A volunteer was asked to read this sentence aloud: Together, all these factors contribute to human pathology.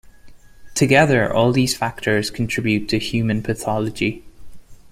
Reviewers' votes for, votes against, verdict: 2, 0, accepted